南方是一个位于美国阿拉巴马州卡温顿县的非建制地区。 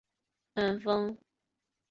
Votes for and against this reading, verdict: 1, 2, rejected